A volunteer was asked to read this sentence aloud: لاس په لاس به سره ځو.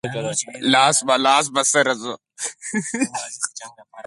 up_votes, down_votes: 4, 0